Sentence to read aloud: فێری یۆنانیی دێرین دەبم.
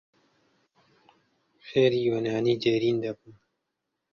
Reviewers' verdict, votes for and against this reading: rejected, 1, 2